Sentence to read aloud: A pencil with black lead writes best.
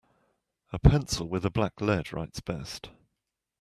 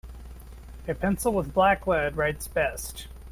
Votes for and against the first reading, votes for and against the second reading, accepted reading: 0, 2, 2, 0, second